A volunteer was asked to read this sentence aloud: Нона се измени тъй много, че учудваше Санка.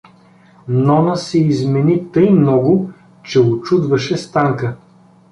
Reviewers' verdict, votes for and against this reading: rejected, 0, 2